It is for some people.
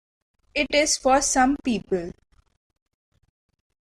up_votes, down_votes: 1, 2